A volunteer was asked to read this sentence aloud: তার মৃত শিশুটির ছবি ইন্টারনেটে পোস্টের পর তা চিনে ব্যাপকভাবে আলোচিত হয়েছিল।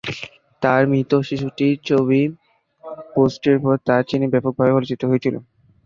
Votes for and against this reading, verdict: 0, 2, rejected